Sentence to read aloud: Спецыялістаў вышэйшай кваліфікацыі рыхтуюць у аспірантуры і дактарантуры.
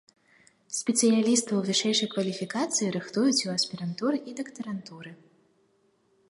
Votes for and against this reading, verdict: 2, 0, accepted